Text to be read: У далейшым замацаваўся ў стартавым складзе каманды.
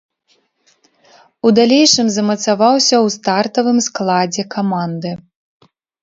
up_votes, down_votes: 2, 0